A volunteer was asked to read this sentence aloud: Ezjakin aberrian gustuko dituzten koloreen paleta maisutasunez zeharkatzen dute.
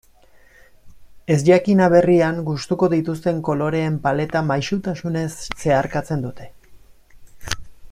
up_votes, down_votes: 2, 0